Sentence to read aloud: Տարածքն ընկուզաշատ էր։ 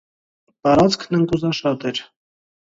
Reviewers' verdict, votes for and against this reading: accepted, 2, 0